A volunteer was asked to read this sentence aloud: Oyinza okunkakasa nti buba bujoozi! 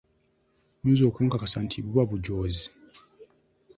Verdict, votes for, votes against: accepted, 2, 0